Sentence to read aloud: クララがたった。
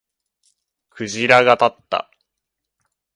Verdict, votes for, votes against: rejected, 0, 2